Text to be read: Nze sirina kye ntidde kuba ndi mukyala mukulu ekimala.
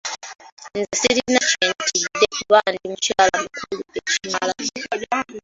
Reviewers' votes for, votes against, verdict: 0, 2, rejected